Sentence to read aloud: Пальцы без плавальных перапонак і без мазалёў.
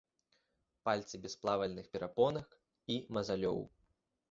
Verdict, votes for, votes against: rejected, 0, 2